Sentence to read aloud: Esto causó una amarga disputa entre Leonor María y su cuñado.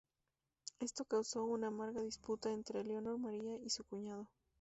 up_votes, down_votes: 2, 0